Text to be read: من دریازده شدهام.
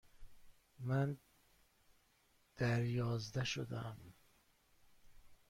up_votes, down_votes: 1, 2